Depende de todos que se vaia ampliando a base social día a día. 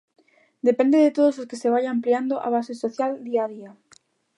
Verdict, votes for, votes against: rejected, 0, 2